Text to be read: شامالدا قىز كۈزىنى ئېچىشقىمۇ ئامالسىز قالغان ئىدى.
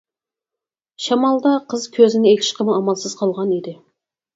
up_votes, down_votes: 4, 2